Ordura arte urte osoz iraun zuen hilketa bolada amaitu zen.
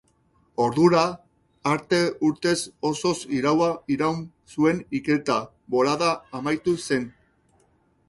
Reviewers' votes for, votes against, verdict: 0, 4, rejected